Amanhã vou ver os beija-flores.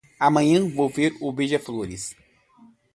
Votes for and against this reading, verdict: 1, 2, rejected